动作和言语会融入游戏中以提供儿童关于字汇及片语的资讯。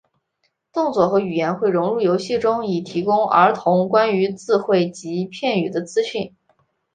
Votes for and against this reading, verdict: 2, 0, accepted